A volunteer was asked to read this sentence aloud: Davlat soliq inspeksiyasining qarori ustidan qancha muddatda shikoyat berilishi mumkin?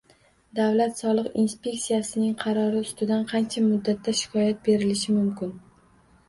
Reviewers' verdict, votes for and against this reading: rejected, 1, 2